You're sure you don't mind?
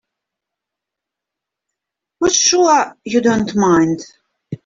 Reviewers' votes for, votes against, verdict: 0, 2, rejected